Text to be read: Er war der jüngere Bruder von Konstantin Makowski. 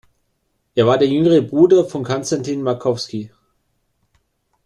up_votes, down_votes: 2, 0